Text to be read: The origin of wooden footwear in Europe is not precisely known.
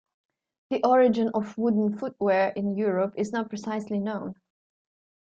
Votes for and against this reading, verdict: 0, 2, rejected